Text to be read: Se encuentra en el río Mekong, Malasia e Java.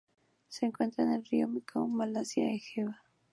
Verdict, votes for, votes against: accepted, 2, 0